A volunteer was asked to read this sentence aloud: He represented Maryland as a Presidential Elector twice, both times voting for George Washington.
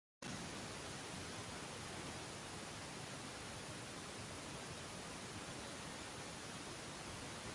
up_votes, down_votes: 0, 2